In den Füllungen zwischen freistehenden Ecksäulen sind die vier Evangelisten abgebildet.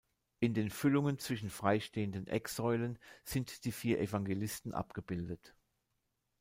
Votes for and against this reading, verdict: 2, 0, accepted